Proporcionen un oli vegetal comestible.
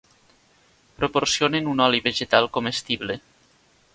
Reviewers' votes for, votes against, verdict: 2, 0, accepted